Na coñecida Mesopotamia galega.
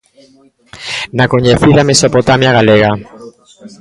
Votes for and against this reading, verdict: 2, 1, accepted